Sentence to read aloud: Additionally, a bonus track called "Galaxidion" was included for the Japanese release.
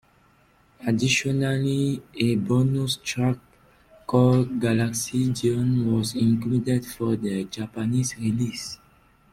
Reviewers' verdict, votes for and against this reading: accepted, 2, 0